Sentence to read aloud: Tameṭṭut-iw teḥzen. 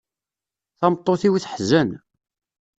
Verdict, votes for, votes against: accepted, 2, 0